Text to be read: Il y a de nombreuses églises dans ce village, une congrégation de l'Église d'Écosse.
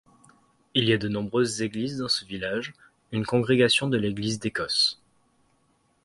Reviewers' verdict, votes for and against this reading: accepted, 2, 0